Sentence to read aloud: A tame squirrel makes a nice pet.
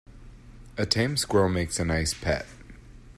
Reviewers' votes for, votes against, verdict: 2, 0, accepted